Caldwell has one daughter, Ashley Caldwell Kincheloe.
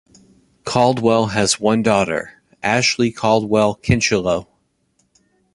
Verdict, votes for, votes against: accepted, 2, 0